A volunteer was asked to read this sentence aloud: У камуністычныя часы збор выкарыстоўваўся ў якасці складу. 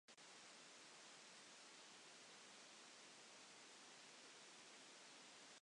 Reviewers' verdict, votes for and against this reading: rejected, 0, 2